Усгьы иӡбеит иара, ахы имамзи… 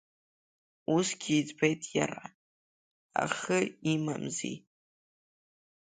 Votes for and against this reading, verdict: 2, 1, accepted